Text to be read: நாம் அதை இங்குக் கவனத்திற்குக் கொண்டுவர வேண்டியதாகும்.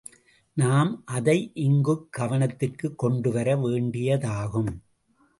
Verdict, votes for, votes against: accepted, 2, 0